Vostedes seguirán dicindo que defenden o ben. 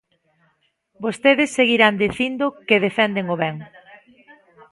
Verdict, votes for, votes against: accepted, 2, 1